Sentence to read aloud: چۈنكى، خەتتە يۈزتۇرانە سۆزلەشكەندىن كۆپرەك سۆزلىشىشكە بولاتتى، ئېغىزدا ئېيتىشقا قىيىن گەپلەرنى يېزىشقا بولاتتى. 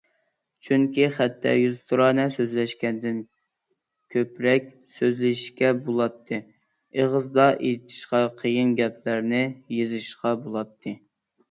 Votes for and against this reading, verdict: 2, 0, accepted